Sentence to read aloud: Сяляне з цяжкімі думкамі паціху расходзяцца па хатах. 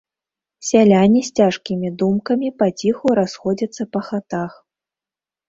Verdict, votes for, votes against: rejected, 0, 2